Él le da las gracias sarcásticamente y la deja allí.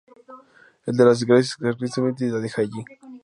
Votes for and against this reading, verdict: 0, 2, rejected